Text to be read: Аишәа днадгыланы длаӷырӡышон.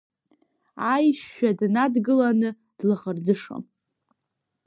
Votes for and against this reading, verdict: 1, 2, rejected